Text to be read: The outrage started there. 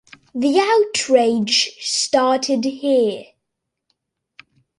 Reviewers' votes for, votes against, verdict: 0, 2, rejected